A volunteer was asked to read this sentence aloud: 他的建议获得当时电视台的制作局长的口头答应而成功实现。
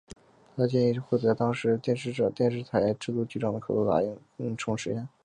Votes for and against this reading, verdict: 3, 0, accepted